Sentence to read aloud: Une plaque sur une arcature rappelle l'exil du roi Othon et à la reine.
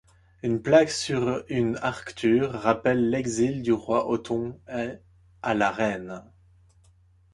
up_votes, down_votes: 1, 2